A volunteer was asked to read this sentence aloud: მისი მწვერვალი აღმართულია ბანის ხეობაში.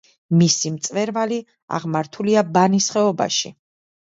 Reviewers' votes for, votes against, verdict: 2, 0, accepted